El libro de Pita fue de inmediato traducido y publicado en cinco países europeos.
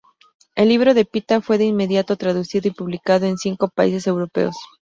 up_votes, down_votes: 4, 0